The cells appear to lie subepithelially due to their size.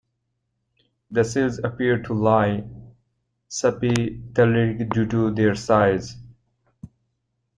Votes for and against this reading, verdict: 1, 2, rejected